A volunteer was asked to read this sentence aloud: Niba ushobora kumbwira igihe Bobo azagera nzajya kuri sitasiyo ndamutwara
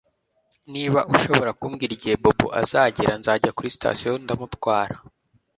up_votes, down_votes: 2, 0